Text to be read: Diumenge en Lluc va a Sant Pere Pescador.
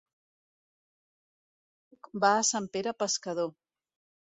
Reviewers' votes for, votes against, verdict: 0, 2, rejected